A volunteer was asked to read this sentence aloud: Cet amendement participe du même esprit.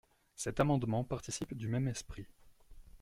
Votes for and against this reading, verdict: 2, 0, accepted